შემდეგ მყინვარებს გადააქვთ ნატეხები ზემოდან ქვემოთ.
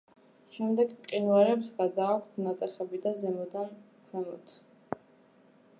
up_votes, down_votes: 0, 2